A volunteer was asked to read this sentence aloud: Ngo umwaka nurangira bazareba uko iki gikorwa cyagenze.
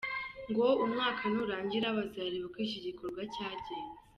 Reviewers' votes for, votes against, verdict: 1, 2, rejected